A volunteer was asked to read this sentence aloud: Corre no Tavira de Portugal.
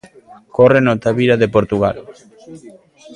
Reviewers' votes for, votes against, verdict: 1, 2, rejected